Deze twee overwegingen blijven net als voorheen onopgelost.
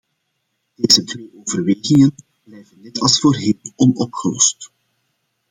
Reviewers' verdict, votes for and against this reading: rejected, 0, 2